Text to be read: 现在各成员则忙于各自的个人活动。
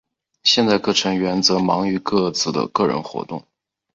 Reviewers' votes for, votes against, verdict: 2, 0, accepted